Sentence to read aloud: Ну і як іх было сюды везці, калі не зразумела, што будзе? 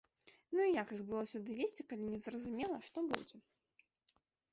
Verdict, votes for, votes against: accepted, 2, 0